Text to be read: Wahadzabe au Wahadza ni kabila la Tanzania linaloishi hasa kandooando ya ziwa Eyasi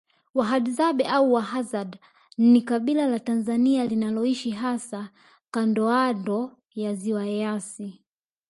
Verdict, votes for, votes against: accepted, 2, 0